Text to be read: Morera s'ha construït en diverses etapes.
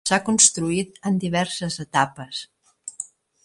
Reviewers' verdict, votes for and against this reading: rejected, 1, 2